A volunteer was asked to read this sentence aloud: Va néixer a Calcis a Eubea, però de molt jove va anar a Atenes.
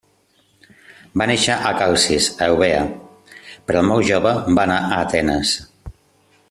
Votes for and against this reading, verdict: 1, 2, rejected